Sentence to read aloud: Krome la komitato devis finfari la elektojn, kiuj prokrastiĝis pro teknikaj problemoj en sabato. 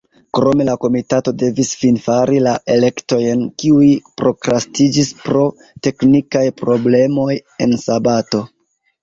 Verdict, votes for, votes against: rejected, 1, 2